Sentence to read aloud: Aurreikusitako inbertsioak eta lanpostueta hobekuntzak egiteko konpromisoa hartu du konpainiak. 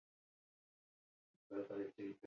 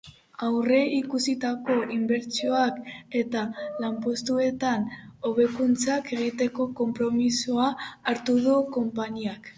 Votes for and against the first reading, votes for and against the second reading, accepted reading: 0, 4, 3, 0, second